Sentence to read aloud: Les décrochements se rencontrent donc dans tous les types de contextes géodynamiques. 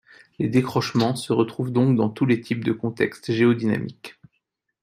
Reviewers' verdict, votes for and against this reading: rejected, 1, 2